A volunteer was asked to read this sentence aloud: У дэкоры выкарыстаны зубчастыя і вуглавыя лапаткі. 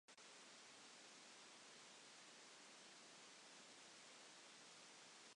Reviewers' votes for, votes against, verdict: 0, 2, rejected